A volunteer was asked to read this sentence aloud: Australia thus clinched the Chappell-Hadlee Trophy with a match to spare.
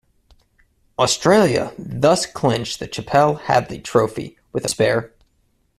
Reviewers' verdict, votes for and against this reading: rejected, 0, 2